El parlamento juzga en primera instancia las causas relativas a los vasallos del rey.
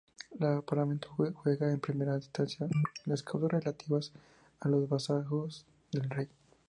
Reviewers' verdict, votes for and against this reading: rejected, 2, 2